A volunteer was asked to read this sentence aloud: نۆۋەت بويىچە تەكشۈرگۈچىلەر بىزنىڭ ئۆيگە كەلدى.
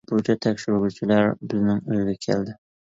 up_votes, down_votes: 0, 2